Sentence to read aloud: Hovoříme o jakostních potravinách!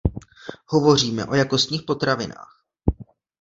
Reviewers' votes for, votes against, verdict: 1, 2, rejected